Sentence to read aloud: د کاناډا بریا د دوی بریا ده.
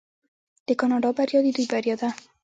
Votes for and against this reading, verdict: 0, 2, rejected